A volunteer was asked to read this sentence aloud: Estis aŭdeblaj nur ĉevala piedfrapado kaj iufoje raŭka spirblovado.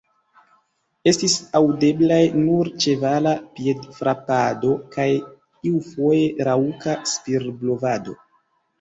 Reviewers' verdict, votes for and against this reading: accepted, 2, 0